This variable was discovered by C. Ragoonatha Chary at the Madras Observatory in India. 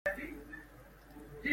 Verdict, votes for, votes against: rejected, 0, 2